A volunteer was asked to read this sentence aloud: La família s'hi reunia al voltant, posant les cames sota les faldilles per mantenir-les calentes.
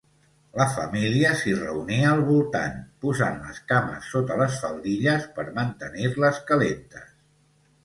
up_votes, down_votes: 2, 0